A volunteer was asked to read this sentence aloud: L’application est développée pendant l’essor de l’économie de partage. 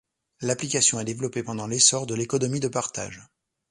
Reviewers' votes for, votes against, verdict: 2, 0, accepted